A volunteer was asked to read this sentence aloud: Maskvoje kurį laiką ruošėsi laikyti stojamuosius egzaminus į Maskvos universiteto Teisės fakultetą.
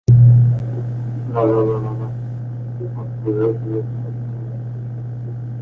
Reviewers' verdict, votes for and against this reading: rejected, 0, 2